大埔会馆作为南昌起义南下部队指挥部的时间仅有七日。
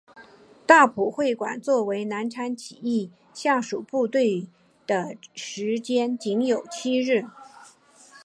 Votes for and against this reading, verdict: 1, 4, rejected